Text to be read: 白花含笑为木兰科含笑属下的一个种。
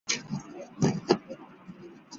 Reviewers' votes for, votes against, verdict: 2, 3, rejected